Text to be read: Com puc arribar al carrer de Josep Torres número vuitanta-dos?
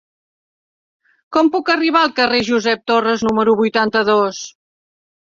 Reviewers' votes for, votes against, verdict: 1, 2, rejected